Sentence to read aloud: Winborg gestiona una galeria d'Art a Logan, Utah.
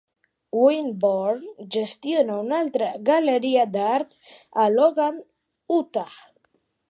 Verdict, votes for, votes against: rejected, 0, 2